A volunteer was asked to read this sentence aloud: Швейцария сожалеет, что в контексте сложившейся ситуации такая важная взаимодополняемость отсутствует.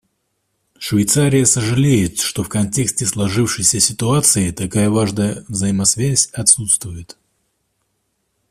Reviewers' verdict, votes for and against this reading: rejected, 1, 2